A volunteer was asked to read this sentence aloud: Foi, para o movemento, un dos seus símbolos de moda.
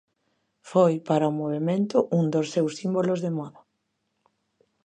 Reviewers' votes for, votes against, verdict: 2, 0, accepted